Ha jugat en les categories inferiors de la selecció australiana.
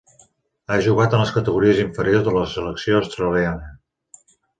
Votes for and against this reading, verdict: 2, 0, accepted